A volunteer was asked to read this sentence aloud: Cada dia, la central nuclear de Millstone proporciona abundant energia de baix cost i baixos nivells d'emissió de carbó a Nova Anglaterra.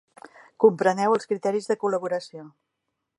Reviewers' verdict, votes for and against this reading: rejected, 0, 2